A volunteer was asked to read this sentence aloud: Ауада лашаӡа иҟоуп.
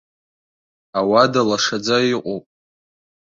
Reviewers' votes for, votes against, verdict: 3, 0, accepted